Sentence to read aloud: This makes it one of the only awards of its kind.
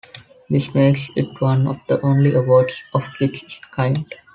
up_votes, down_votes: 2, 0